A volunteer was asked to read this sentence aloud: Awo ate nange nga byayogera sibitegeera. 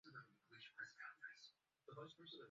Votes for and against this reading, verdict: 0, 2, rejected